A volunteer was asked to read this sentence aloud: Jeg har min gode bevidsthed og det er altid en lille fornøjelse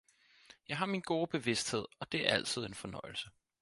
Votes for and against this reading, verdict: 2, 4, rejected